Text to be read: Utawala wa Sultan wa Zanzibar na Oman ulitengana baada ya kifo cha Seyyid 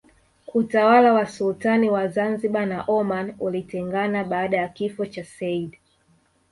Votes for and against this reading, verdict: 2, 0, accepted